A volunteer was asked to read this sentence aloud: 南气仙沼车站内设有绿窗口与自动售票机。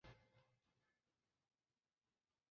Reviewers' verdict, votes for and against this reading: rejected, 1, 2